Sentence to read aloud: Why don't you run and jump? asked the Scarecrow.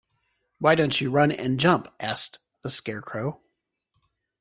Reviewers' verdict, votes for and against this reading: accepted, 2, 0